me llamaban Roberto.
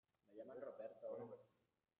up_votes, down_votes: 0, 2